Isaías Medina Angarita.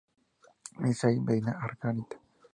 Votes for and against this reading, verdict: 0, 2, rejected